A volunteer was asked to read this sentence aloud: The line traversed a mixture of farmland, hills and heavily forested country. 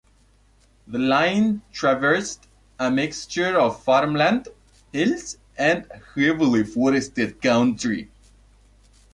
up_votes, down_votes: 2, 0